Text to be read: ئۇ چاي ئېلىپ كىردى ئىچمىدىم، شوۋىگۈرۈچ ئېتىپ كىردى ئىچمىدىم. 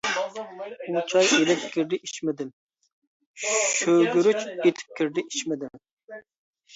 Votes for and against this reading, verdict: 0, 2, rejected